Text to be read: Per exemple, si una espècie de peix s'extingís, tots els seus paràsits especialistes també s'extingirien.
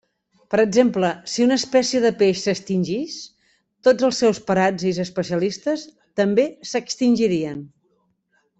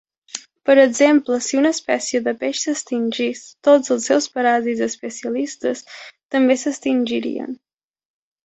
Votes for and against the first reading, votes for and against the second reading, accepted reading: 1, 2, 3, 0, second